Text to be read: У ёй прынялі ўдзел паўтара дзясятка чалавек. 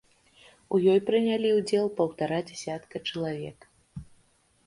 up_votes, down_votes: 2, 0